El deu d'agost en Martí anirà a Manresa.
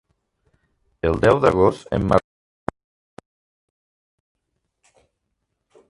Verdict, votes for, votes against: rejected, 1, 2